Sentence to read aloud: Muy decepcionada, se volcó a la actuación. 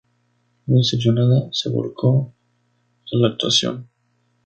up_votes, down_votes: 0, 4